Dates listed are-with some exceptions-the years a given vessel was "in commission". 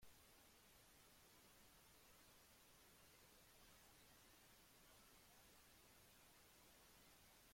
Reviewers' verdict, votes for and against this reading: rejected, 0, 2